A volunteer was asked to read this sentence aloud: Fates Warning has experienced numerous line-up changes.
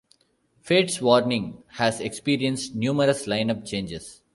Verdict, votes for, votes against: accepted, 2, 0